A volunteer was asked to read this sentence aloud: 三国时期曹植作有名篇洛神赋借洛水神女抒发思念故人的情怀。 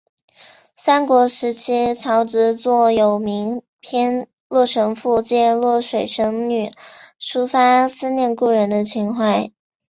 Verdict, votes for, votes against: accepted, 5, 1